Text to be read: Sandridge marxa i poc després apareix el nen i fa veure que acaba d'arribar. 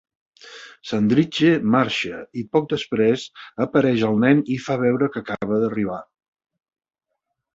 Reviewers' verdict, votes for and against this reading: accepted, 2, 1